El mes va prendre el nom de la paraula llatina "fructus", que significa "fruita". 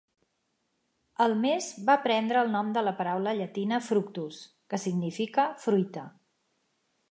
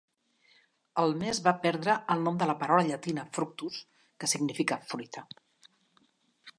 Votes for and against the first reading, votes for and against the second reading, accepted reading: 4, 0, 1, 2, first